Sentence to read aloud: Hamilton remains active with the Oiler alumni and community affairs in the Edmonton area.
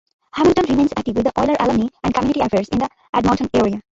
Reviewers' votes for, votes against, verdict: 0, 2, rejected